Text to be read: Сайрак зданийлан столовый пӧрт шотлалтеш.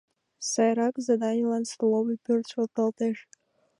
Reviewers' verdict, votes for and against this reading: accepted, 2, 1